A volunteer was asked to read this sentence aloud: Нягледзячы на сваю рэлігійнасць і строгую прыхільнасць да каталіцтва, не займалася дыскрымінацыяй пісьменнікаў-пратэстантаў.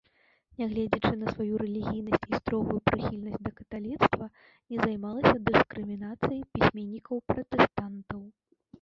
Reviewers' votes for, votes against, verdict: 1, 2, rejected